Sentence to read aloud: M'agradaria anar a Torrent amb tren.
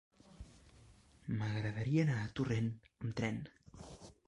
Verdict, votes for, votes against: rejected, 1, 2